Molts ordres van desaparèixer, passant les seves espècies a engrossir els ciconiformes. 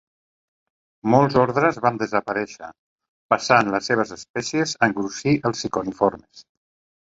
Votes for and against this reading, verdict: 2, 0, accepted